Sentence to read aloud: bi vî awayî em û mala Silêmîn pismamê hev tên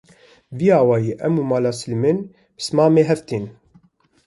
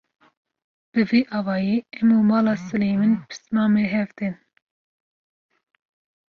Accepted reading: second